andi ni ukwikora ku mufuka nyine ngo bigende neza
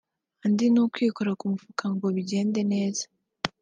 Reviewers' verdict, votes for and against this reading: rejected, 1, 2